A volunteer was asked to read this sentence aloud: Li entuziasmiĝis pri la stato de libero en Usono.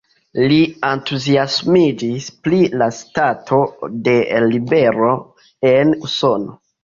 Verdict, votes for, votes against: accepted, 2, 1